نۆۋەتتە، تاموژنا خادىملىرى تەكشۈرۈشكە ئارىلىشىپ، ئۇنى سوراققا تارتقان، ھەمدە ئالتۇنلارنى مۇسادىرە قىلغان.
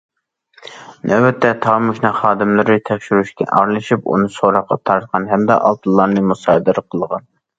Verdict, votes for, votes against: accepted, 2, 0